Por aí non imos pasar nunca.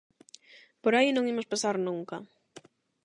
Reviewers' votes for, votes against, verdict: 8, 0, accepted